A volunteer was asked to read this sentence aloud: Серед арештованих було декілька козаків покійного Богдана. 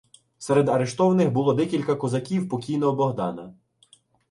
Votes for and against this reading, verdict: 2, 1, accepted